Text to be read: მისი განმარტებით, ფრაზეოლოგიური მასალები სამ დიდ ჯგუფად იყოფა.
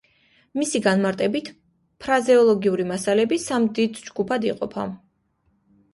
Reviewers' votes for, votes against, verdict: 3, 0, accepted